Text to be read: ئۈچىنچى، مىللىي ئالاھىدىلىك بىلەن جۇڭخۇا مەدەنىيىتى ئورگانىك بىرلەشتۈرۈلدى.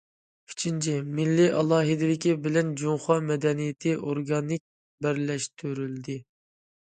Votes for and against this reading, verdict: 0, 2, rejected